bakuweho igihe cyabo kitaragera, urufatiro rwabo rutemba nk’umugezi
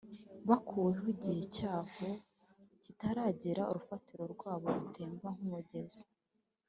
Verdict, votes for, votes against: accepted, 3, 0